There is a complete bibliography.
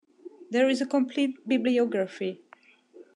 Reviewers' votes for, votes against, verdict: 2, 0, accepted